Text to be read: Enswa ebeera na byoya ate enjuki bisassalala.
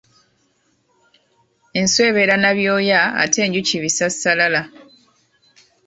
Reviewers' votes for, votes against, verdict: 2, 0, accepted